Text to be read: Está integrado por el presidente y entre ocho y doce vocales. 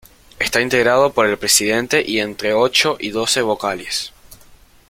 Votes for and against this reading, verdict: 2, 0, accepted